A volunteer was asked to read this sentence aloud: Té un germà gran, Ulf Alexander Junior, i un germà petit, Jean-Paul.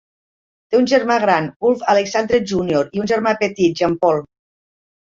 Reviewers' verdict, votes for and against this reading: rejected, 1, 2